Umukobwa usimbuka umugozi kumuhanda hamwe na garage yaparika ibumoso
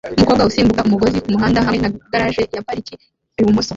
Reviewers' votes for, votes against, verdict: 2, 1, accepted